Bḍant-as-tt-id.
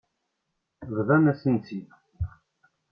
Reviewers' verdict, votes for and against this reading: rejected, 1, 2